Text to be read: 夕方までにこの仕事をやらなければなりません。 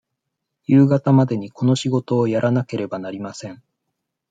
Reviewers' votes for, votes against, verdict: 2, 0, accepted